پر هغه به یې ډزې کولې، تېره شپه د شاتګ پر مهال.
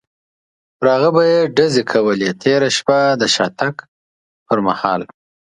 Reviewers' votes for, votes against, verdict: 2, 0, accepted